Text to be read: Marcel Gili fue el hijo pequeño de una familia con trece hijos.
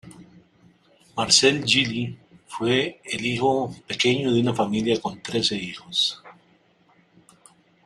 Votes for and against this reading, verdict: 1, 2, rejected